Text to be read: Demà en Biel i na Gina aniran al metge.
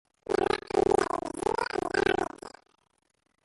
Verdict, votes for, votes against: rejected, 0, 2